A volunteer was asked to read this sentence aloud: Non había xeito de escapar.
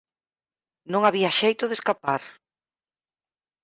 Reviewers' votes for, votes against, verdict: 4, 0, accepted